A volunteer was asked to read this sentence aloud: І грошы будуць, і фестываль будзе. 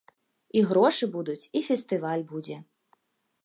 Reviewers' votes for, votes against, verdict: 1, 2, rejected